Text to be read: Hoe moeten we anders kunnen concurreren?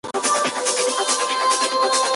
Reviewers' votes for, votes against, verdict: 0, 2, rejected